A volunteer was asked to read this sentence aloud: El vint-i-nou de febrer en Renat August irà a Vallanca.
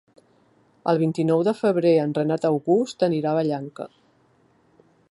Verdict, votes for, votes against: rejected, 1, 2